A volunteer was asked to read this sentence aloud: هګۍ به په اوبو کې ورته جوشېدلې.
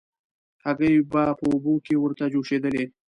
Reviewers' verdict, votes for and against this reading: accepted, 2, 0